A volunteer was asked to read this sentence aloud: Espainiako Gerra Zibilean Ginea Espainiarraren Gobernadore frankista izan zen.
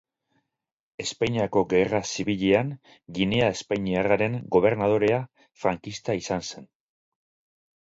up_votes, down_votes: 0, 2